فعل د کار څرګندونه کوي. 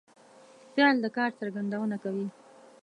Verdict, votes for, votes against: rejected, 1, 2